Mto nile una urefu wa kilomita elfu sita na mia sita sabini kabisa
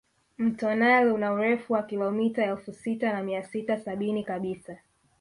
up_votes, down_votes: 2, 1